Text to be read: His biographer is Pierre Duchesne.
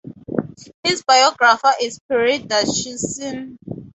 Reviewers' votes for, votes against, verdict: 4, 0, accepted